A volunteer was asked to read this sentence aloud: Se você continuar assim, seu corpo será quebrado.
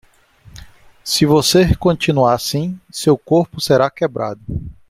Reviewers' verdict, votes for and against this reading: accepted, 2, 0